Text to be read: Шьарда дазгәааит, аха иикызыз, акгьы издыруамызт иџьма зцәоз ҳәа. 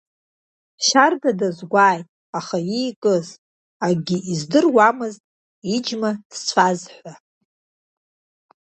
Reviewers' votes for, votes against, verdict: 0, 2, rejected